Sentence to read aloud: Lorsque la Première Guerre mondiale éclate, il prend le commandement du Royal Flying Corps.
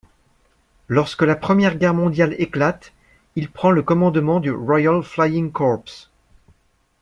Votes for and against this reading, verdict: 2, 1, accepted